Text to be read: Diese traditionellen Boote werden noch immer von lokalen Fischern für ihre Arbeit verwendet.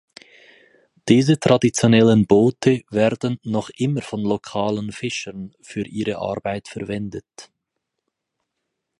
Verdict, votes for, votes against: accepted, 4, 0